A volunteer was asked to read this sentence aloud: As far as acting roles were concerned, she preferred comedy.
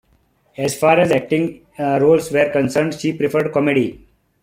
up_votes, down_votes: 0, 2